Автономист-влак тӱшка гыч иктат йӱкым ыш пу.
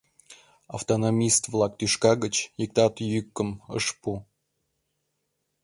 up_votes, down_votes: 2, 0